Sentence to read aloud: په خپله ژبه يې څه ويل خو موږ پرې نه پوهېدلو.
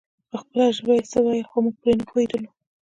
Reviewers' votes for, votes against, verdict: 2, 1, accepted